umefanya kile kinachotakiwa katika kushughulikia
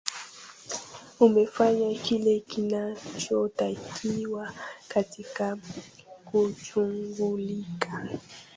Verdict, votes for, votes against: rejected, 1, 2